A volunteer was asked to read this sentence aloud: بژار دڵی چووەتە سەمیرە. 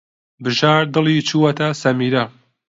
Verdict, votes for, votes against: accepted, 2, 0